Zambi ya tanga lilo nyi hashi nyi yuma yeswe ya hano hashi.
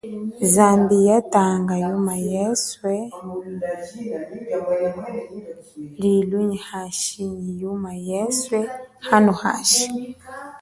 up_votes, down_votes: 0, 2